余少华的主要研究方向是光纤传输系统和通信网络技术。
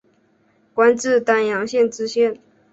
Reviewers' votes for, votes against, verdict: 0, 3, rejected